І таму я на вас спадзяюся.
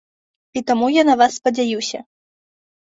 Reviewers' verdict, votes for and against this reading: accepted, 2, 0